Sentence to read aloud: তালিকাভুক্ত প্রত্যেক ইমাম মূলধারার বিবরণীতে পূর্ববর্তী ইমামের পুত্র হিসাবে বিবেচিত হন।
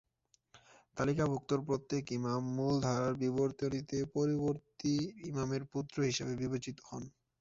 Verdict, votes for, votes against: rejected, 1, 4